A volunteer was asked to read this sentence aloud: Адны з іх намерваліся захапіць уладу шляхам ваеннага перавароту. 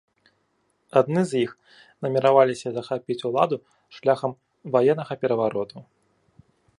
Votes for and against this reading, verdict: 0, 2, rejected